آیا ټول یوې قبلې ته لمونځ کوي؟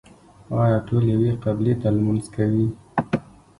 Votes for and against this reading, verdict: 2, 0, accepted